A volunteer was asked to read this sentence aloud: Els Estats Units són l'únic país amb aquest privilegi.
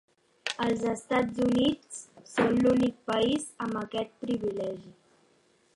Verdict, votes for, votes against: rejected, 0, 2